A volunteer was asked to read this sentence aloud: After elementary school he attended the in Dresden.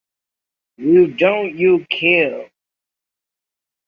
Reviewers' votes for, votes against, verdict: 0, 2, rejected